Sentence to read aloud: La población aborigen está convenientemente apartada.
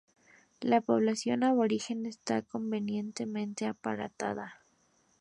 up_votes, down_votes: 0, 2